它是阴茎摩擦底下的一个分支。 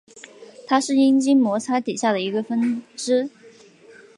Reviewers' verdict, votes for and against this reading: accepted, 4, 0